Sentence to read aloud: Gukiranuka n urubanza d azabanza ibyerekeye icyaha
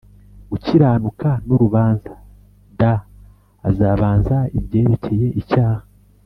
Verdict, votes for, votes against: accepted, 3, 0